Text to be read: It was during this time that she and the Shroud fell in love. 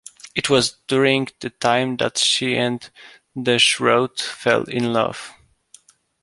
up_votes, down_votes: 0, 2